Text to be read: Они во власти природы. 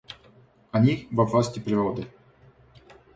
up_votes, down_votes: 2, 0